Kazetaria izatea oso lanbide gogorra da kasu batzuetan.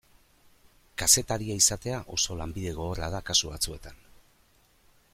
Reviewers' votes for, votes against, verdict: 2, 0, accepted